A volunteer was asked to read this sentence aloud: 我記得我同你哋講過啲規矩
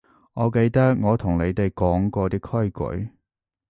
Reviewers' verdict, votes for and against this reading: accepted, 2, 0